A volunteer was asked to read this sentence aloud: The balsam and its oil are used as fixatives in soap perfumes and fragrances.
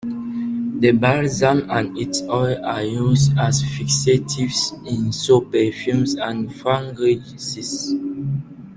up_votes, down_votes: 0, 2